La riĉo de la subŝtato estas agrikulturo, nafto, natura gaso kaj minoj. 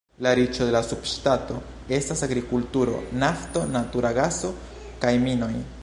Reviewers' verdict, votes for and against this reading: accepted, 2, 0